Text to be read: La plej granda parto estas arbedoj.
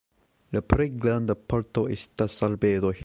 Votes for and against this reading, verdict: 3, 0, accepted